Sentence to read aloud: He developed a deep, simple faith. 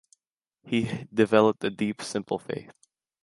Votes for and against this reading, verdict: 2, 0, accepted